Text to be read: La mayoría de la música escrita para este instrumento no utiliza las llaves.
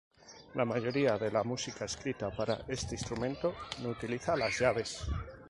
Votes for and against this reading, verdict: 4, 0, accepted